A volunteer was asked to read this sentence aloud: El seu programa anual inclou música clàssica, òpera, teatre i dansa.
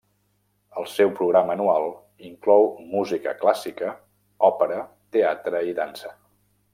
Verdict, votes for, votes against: accepted, 3, 0